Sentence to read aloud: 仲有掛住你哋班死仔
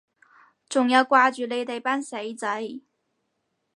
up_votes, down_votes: 4, 0